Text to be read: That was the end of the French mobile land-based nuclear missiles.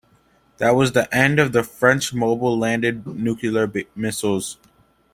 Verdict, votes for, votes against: rejected, 0, 2